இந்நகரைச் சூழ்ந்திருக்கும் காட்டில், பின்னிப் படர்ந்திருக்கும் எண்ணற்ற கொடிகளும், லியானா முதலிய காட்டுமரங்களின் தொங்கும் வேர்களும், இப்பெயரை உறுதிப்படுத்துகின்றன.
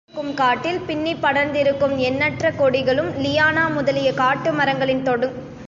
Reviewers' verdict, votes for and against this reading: rejected, 0, 2